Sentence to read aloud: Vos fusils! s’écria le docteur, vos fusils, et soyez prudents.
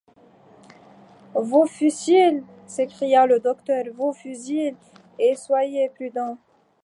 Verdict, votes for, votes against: rejected, 1, 2